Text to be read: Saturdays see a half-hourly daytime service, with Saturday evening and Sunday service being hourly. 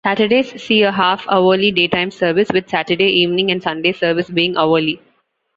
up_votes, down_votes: 2, 1